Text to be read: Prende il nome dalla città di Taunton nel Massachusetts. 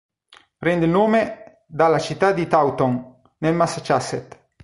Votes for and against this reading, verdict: 2, 0, accepted